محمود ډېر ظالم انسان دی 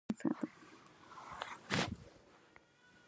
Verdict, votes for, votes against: rejected, 1, 2